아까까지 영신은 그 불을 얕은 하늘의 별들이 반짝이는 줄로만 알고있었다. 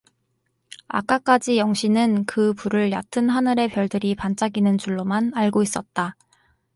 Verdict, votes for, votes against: accepted, 4, 0